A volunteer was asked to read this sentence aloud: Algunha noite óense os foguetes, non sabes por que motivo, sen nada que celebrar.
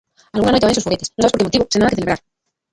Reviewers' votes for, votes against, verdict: 0, 2, rejected